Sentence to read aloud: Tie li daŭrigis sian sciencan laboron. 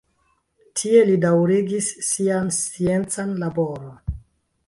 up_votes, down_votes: 2, 1